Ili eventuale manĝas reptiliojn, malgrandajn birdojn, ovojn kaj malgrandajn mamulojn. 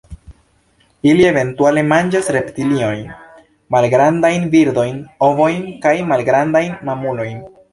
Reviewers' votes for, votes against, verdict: 2, 0, accepted